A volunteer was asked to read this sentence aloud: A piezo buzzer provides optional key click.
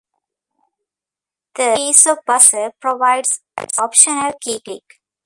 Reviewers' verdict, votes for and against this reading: rejected, 1, 2